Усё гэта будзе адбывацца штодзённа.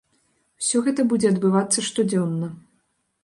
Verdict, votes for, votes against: accepted, 2, 0